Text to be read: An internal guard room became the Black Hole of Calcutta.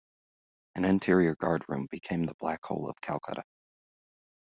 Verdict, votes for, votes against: rejected, 0, 2